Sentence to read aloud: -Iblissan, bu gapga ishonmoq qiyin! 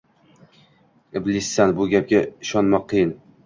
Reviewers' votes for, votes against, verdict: 2, 0, accepted